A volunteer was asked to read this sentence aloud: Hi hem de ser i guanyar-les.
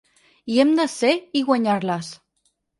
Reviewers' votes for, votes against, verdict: 4, 0, accepted